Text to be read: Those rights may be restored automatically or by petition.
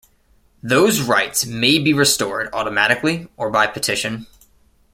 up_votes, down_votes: 2, 0